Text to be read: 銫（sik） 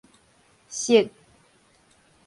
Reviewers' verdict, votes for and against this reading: rejected, 2, 2